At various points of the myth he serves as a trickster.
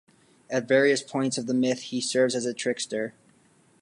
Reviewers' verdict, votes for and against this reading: accepted, 2, 1